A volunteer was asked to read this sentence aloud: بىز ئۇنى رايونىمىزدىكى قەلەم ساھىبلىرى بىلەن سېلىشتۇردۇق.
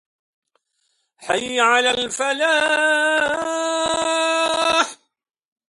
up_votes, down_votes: 0, 2